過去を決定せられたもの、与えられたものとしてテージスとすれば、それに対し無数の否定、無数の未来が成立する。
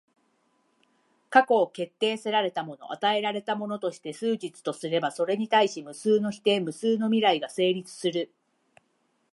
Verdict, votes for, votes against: rejected, 3, 3